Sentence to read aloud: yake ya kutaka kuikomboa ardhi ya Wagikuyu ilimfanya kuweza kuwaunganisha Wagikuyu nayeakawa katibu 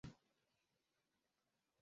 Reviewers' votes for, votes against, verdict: 0, 3, rejected